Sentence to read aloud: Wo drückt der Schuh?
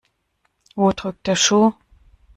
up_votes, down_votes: 2, 0